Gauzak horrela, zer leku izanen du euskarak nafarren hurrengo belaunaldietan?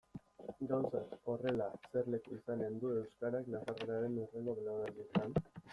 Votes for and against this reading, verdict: 0, 2, rejected